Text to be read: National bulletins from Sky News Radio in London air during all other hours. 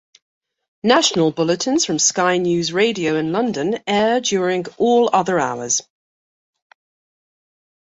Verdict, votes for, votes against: accepted, 2, 0